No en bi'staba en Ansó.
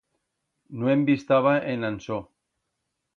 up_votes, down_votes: 2, 0